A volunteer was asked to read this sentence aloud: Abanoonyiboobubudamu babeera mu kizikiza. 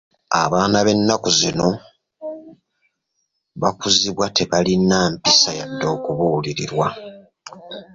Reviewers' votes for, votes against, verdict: 0, 2, rejected